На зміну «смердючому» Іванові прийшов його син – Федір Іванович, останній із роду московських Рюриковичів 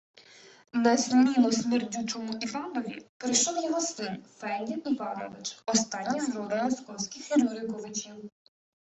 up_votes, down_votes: 2, 1